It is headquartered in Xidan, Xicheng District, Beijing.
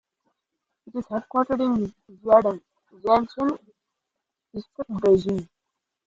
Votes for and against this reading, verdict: 0, 2, rejected